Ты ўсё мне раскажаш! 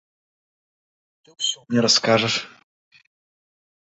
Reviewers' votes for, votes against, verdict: 2, 0, accepted